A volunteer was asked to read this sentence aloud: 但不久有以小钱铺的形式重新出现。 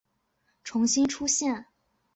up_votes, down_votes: 0, 2